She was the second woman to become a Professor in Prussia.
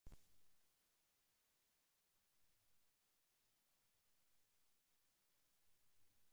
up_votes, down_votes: 0, 2